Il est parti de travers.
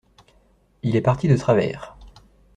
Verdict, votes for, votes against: accepted, 2, 0